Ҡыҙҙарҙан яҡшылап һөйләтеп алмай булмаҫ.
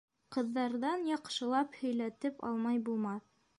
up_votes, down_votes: 2, 0